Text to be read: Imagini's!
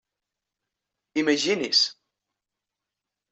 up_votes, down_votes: 3, 0